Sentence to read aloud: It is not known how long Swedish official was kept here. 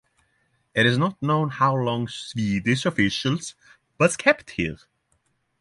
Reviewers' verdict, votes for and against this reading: rejected, 0, 3